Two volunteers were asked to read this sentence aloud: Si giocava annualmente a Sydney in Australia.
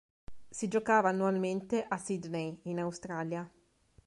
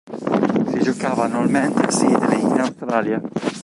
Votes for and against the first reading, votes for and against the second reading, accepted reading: 2, 0, 1, 2, first